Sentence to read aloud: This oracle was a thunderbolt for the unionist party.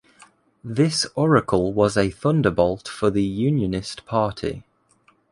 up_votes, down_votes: 2, 0